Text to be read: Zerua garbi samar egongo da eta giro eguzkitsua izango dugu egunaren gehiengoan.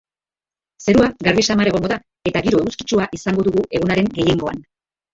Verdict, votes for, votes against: accepted, 3, 1